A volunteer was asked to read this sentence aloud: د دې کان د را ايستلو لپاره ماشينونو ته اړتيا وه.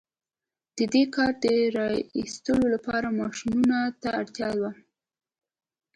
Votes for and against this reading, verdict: 2, 0, accepted